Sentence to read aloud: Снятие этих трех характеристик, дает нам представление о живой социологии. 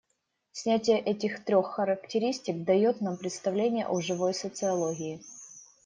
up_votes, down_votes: 2, 0